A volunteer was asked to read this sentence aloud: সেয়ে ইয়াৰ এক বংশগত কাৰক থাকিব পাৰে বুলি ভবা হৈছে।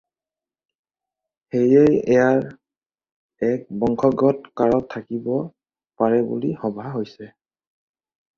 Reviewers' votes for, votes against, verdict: 2, 2, rejected